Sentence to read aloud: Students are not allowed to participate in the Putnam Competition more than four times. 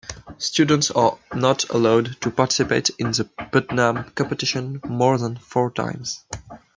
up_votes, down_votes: 2, 0